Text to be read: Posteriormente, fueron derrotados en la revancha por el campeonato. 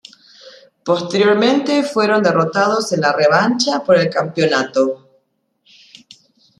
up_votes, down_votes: 2, 0